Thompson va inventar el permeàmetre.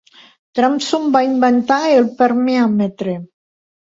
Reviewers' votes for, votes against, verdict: 1, 2, rejected